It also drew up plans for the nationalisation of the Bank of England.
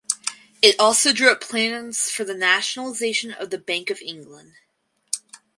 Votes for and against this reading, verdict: 4, 0, accepted